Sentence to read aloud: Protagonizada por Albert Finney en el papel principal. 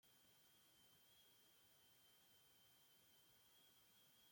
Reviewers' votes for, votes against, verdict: 1, 2, rejected